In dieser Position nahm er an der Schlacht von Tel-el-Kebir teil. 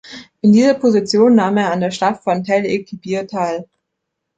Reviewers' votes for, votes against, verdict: 2, 0, accepted